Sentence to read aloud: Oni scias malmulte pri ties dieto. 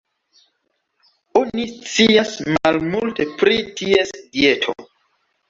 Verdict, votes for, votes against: accepted, 2, 0